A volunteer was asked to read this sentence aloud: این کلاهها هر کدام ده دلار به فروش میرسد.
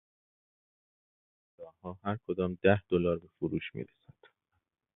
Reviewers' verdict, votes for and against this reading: rejected, 1, 2